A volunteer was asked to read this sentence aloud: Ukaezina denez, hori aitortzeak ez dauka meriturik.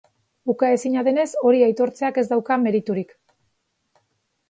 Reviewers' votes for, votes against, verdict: 3, 0, accepted